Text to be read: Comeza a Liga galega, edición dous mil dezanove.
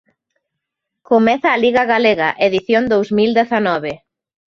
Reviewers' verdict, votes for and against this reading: accepted, 2, 1